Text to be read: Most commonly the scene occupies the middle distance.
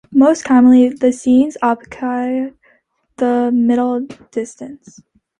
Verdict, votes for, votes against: rejected, 0, 2